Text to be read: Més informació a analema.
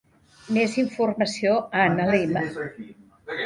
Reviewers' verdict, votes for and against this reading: accepted, 2, 0